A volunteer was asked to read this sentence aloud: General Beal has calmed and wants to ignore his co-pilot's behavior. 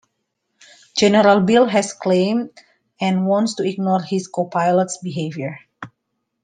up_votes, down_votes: 1, 2